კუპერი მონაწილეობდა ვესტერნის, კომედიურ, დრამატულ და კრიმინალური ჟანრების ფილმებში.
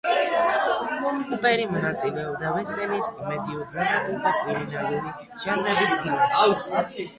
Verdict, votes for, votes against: rejected, 1, 2